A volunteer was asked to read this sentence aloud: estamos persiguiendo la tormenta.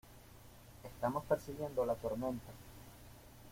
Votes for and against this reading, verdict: 2, 0, accepted